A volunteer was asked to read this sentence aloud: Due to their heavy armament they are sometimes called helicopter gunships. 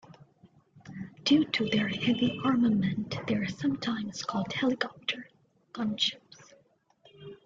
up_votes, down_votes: 2, 0